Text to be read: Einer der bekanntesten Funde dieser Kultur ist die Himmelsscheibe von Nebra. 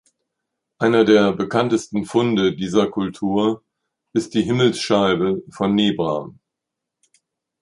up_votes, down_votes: 2, 0